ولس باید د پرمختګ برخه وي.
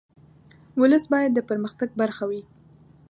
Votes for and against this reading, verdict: 2, 0, accepted